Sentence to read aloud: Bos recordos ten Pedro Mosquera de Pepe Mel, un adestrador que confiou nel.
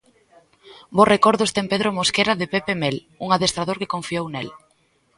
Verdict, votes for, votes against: accepted, 2, 0